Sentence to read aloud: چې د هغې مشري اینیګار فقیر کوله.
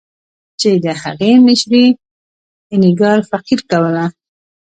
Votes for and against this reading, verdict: 1, 2, rejected